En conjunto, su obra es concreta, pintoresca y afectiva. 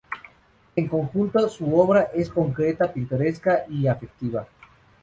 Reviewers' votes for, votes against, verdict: 2, 2, rejected